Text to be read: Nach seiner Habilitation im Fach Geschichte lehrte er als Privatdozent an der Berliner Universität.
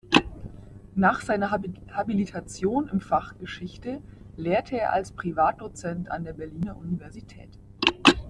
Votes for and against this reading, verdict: 1, 2, rejected